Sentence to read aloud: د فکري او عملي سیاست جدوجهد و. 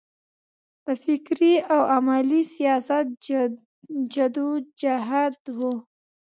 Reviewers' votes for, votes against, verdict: 0, 2, rejected